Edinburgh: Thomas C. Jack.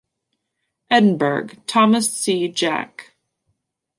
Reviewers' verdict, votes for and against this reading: accepted, 2, 1